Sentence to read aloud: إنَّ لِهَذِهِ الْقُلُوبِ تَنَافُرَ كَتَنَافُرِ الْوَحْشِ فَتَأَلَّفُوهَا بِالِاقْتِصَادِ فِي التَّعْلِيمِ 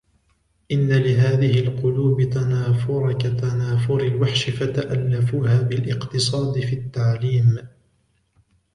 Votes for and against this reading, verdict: 2, 0, accepted